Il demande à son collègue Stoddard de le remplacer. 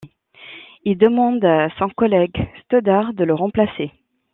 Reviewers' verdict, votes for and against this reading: rejected, 0, 2